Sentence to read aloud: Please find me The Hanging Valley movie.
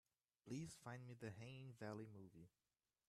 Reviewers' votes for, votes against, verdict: 1, 2, rejected